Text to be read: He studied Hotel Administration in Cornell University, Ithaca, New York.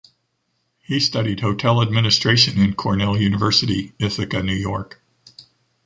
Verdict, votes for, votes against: accepted, 2, 0